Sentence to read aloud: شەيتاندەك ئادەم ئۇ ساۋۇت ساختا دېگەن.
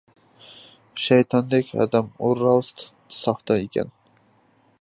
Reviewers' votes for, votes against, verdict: 0, 2, rejected